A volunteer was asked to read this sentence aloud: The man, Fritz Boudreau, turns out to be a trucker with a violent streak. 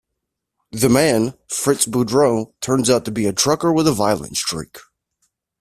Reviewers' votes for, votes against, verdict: 2, 0, accepted